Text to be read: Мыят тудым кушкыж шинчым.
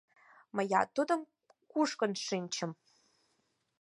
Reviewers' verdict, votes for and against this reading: rejected, 4, 6